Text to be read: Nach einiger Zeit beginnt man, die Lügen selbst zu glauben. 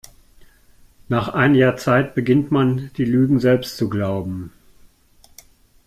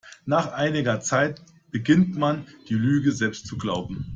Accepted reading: first